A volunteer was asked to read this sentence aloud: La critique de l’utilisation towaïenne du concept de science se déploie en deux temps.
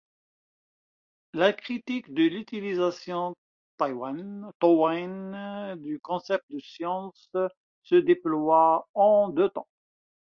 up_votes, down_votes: 1, 2